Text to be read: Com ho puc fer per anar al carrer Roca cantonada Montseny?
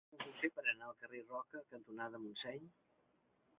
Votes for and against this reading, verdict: 0, 2, rejected